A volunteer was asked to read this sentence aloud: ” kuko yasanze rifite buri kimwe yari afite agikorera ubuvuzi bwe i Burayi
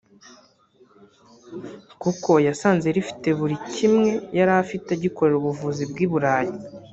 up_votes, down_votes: 1, 2